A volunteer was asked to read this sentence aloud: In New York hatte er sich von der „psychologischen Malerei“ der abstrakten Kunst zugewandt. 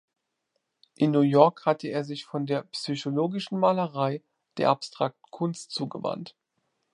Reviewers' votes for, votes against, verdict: 2, 0, accepted